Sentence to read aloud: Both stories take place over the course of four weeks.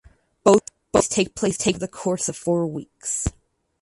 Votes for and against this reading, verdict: 0, 6, rejected